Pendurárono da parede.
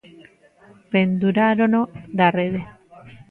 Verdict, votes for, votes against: rejected, 1, 2